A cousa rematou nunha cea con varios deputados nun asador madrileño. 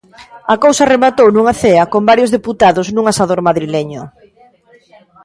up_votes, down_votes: 1, 2